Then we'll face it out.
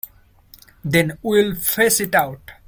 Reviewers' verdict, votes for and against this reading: accepted, 2, 0